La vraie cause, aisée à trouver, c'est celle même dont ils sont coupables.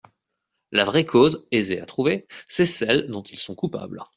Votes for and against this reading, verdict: 0, 2, rejected